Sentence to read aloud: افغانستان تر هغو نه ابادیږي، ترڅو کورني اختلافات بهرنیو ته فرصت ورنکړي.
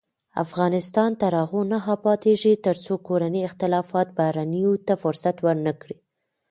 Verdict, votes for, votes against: accepted, 2, 0